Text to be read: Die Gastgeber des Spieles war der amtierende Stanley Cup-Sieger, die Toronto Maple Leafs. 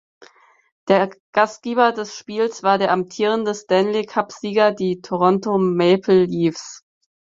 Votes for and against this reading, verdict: 0, 4, rejected